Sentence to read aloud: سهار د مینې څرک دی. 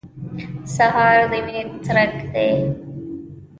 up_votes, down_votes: 2, 0